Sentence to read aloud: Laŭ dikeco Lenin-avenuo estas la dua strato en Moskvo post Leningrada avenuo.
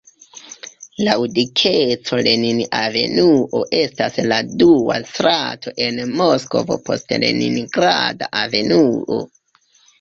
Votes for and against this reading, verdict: 0, 2, rejected